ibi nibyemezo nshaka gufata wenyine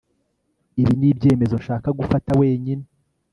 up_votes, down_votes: 2, 0